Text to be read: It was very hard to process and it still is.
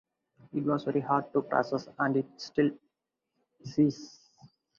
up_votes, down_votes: 0, 2